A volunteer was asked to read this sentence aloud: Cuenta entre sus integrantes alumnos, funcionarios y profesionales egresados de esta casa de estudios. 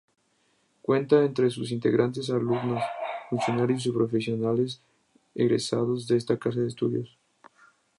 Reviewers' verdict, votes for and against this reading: rejected, 0, 2